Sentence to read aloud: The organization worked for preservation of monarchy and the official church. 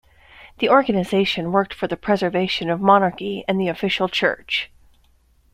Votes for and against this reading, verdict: 0, 2, rejected